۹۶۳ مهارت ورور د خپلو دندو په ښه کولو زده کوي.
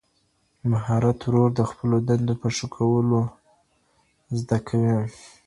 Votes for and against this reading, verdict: 0, 2, rejected